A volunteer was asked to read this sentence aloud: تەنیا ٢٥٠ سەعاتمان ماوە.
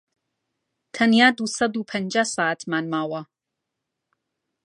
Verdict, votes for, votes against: rejected, 0, 2